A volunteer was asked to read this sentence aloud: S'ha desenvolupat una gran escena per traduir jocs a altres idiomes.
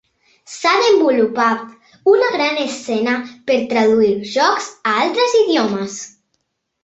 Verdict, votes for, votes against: accepted, 2, 1